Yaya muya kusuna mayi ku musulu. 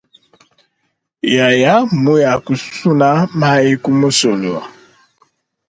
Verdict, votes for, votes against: accepted, 2, 0